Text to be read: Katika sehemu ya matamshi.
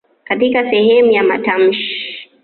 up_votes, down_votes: 2, 1